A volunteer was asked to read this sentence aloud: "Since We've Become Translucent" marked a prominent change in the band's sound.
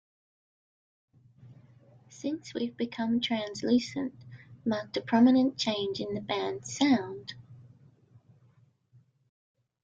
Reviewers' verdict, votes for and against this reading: accepted, 2, 1